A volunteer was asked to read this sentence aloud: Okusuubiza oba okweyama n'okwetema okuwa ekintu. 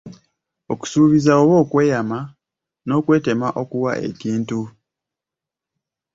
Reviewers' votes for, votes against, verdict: 2, 1, accepted